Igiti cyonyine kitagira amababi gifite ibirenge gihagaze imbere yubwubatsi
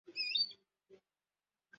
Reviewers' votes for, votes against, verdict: 0, 2, rejected